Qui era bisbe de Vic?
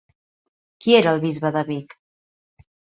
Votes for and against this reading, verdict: 0, 2, rejected